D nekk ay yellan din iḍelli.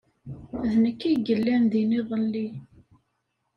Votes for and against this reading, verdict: 2, 0, accepted